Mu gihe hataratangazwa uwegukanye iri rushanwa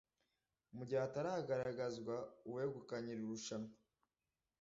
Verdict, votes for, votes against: rejected, 1, 2